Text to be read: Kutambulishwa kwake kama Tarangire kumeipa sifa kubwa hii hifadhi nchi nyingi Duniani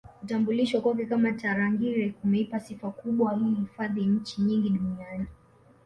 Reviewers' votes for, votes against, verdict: 3, 2, accepted